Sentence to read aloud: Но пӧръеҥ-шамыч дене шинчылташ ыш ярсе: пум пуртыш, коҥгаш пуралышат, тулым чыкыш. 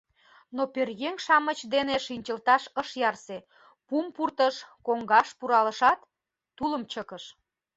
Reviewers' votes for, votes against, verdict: 2, 0, accepted